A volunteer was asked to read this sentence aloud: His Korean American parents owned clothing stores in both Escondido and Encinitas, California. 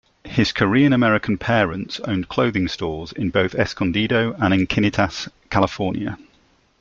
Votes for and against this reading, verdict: 2, 0, accepted